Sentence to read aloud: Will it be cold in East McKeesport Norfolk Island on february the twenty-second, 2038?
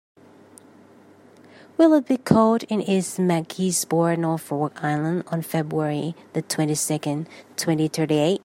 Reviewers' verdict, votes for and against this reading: rejected, 0, 2